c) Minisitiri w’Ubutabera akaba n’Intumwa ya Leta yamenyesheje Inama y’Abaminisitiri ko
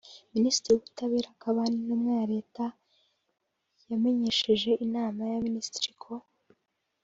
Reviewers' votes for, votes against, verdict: 0, 2, rejected